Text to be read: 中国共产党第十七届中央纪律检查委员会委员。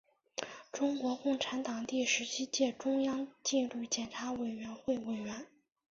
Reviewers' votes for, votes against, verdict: 2, 1, accepted